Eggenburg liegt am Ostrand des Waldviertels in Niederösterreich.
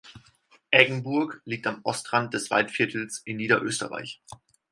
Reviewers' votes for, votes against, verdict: 4, 0, accepted